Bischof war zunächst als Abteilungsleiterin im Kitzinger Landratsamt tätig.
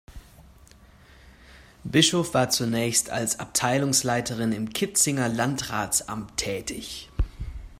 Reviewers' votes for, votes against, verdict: 2, 0, accepted